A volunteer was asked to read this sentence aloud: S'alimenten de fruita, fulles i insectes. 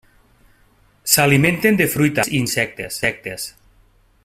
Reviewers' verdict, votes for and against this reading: rejected, 0, 2